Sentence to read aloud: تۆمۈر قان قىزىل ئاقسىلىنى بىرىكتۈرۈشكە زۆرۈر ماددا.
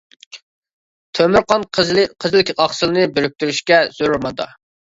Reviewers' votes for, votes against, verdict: 0, 2, rejected